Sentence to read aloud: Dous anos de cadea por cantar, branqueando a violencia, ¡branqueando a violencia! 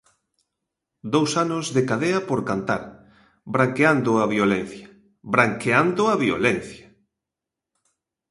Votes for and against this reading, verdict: 2, 0, accepted